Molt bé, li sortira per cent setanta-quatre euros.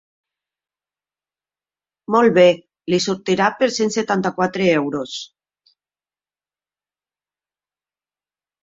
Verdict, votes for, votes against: accepted, 4, 0